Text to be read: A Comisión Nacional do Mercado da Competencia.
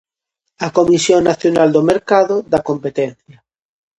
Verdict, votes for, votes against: accepted, 2, 0